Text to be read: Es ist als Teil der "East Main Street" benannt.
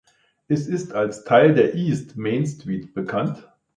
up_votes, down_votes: 0, 2